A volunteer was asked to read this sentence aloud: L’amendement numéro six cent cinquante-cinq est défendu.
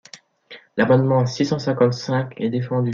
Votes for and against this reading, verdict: 0, 2, rejected